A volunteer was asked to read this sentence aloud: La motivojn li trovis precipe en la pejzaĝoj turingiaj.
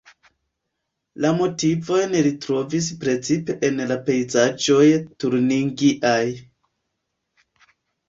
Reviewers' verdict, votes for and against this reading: rejected, 0, 2